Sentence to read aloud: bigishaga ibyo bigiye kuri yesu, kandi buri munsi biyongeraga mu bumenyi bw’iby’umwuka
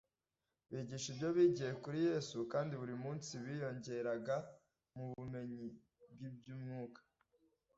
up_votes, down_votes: 1, 2